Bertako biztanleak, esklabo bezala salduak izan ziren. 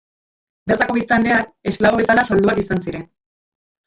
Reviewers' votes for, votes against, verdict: 0, 2, rejected